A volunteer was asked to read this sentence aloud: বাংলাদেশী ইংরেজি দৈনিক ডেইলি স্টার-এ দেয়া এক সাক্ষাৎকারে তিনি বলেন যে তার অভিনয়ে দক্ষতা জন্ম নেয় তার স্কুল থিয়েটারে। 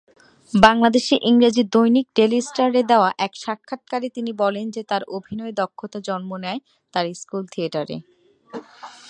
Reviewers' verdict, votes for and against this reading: accepted, 6, 0